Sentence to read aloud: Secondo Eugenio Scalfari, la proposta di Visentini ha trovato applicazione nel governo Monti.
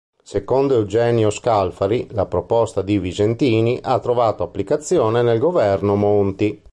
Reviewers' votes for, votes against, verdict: 2, 0, accepted